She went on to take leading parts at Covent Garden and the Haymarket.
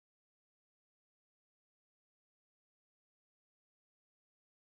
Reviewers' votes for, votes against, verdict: 1, 2, rejected